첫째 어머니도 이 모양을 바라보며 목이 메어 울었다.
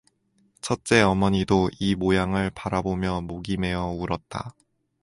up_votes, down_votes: 2, 0